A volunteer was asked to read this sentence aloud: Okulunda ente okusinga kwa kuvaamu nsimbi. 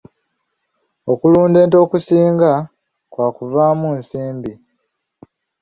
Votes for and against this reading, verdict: 0, 2, rejected